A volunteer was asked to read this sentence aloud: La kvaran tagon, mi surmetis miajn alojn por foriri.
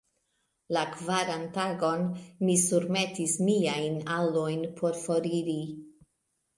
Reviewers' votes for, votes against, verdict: 1, 2, rejected